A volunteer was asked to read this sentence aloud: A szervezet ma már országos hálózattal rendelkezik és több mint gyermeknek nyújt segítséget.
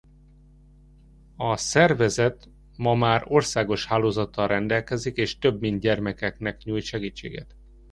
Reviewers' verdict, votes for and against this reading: rejected, 0, 2